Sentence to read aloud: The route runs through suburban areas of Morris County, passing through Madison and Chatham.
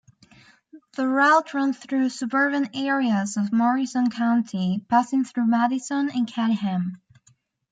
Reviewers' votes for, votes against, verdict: 1, 2, rejected